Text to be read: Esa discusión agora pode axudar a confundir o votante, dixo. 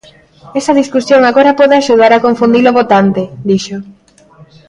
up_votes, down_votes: 2, 0